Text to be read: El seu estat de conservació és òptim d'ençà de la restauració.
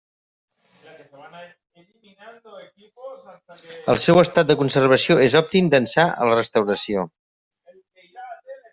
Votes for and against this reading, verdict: 0, 2, rejected